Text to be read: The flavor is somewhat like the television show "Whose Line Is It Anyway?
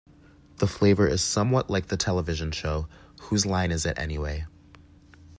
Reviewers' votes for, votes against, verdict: 2, 0, accepted